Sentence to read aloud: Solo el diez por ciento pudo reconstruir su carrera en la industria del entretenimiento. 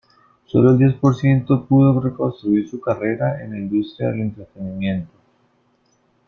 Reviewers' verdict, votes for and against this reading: accepted, 3, 1